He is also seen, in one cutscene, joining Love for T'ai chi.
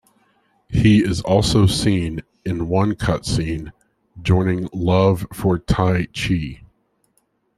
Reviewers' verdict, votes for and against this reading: accepted, 2, 0